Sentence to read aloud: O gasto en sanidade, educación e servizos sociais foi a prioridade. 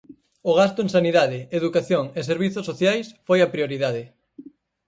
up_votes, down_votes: 4, 0